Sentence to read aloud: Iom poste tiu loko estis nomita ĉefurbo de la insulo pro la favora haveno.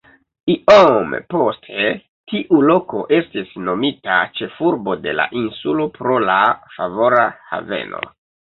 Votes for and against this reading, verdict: 1, 2, rejected